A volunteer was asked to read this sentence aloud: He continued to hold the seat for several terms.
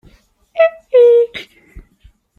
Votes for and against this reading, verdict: 0, 2, rejected